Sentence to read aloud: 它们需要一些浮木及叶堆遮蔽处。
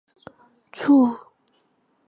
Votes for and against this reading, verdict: 0, 2, rejected